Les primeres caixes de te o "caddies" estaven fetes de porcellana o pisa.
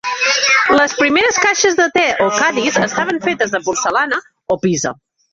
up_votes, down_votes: 1, 2